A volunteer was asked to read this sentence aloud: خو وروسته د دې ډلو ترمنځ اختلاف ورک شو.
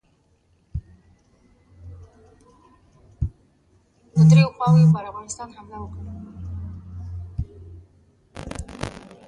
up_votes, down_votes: 0, 2